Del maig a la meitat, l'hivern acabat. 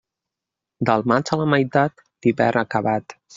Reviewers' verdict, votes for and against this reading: rejected, 0, 2